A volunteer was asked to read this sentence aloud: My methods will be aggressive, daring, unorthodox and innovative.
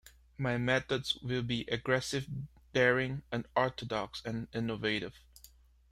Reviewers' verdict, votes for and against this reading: rejected, 1, 2